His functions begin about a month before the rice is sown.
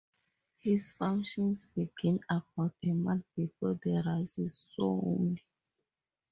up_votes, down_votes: 2, 0